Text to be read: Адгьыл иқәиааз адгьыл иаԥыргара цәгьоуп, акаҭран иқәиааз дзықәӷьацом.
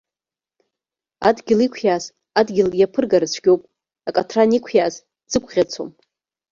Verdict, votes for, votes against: rejected, 1, 2